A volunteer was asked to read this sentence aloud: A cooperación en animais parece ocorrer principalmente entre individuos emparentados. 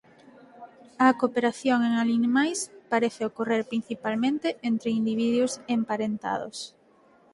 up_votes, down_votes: 0, 4